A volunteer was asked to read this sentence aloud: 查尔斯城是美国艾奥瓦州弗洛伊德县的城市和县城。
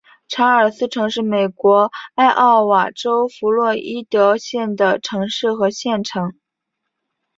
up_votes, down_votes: 3, 0